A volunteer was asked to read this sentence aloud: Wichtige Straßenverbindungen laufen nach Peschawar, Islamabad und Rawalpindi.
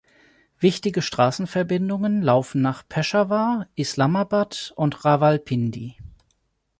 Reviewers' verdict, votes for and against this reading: accepted, 4, 0